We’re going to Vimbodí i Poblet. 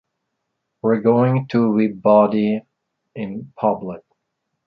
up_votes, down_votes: 0, 2